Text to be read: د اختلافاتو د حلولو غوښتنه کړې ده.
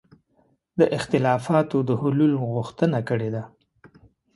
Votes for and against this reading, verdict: 1, 2, rejected